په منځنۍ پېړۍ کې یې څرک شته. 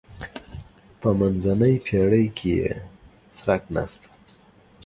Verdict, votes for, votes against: rejected, 2, 3